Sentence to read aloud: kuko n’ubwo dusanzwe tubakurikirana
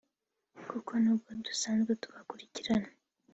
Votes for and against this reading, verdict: 2, 0, accepted